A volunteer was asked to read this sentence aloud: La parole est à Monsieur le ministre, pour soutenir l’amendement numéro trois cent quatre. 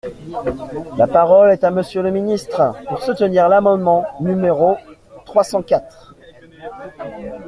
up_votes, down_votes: 2, 0